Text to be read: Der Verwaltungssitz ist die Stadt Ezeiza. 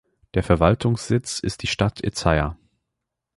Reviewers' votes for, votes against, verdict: 3, 0, accepted